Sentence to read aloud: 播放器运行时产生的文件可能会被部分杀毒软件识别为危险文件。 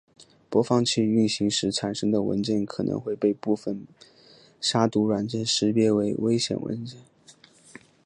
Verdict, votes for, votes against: accepted, 2, 1